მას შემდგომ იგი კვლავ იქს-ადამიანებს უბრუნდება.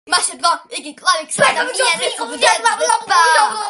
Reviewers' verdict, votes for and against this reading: rejected, 0, 2